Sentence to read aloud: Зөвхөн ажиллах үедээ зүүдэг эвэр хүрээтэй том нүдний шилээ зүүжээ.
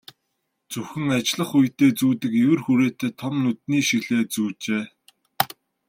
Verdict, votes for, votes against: accepted, 2, 0